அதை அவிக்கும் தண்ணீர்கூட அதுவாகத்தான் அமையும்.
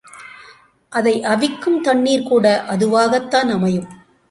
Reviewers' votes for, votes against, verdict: 2, 0, accepted